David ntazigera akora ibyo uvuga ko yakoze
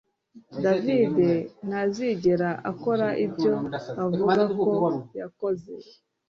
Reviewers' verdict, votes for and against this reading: rejected, 0, 2